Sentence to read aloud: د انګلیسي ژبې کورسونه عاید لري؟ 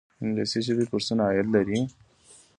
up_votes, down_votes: 2, 0